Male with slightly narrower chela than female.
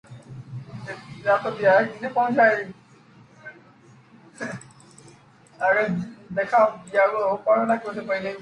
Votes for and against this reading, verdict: 0, 2, rejected